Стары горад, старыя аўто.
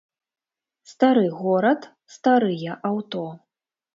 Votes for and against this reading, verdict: 3, 0, accepted